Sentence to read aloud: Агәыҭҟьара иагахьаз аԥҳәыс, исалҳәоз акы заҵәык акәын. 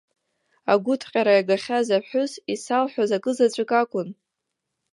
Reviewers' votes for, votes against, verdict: 1, 2, rejected